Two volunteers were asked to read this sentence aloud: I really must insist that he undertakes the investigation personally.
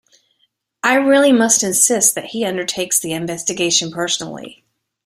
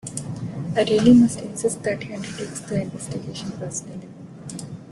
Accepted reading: first